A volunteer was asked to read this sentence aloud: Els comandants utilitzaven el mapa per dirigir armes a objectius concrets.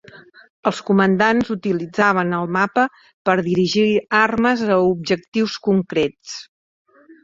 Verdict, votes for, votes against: accepted, 3, 0